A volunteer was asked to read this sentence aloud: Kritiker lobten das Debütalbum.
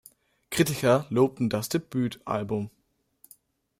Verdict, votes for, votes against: rejected, 1, 2